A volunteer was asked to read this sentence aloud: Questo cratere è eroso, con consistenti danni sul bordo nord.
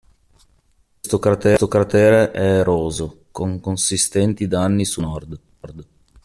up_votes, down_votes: 0, 2